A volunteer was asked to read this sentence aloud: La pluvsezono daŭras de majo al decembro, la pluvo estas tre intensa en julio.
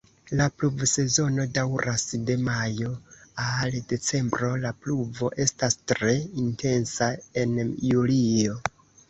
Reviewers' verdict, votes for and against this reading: accepted, 2, 1